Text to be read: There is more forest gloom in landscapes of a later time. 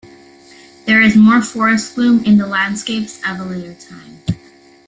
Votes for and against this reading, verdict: 2, 1, accepted